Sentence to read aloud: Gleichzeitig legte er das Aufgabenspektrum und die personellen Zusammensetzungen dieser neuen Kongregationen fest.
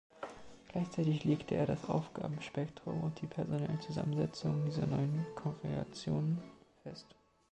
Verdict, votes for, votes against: accepted, 2, 0